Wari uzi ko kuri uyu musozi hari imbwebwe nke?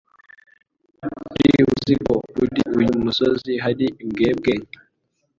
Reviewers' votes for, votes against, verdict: 1, 2, rejected